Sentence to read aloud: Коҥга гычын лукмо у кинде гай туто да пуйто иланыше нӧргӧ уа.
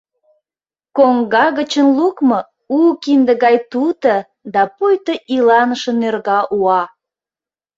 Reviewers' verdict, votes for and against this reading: rejected, 0, 2